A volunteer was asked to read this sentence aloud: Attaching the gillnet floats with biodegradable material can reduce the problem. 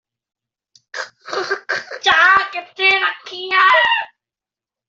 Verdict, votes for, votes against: rejected, 0, 2